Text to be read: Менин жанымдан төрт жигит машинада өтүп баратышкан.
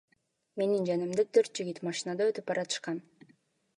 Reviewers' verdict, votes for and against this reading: accepted, 2, 1